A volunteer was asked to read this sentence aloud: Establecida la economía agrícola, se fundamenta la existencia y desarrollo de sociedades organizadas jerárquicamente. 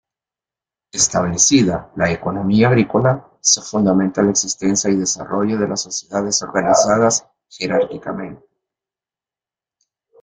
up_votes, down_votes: 0, 2